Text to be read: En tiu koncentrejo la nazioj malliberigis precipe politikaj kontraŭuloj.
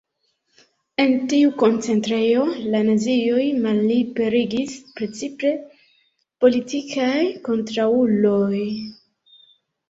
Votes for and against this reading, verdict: 0, 2, rejected